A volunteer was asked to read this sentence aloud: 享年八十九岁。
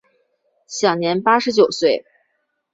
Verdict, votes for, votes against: accepted, 2, 0